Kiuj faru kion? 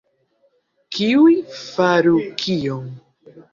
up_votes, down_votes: 1, 2